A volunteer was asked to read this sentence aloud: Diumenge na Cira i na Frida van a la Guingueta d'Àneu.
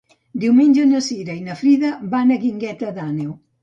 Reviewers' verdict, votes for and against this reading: rejected, 1, 2